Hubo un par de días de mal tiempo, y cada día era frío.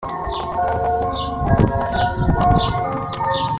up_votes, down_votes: 0, 2